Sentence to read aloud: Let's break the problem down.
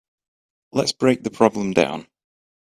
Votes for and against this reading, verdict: 2, 0, accepted